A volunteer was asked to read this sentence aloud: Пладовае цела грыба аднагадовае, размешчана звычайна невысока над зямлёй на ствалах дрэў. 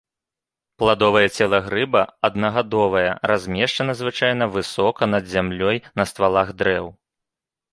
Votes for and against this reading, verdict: 0, 2, rejected